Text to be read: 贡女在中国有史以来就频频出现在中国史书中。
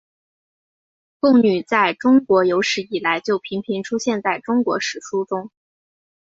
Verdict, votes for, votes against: accepted, 4, 1